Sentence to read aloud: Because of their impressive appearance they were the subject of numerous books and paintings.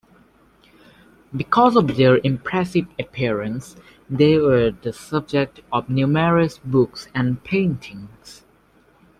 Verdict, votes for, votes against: accepted, 2, 1